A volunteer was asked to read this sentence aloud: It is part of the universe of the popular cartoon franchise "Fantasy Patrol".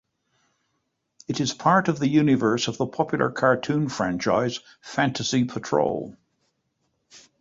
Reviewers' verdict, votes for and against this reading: accepted, 2, 0